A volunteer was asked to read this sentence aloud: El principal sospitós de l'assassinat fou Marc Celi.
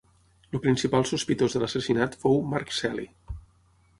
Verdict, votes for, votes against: rejected, 3, 6